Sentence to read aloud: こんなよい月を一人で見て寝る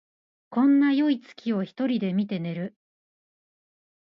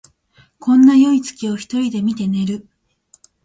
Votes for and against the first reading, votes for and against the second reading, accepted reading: 0, 2, 2, 0, second